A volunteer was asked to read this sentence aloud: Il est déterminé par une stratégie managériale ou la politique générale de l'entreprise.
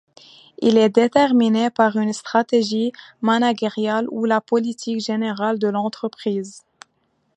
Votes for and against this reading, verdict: 0, 2, rejected